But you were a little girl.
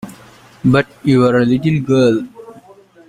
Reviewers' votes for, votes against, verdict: 2, 1, accepted